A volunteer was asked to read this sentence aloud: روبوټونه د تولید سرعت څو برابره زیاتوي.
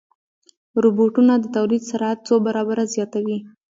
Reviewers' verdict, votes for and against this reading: rejected, 1, 2